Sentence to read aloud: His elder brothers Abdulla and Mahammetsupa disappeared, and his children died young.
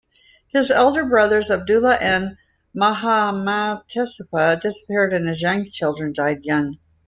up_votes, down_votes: 0, 2